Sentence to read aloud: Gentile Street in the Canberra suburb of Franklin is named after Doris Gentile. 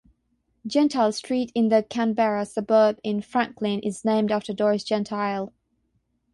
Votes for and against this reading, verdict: 0, 3, rejected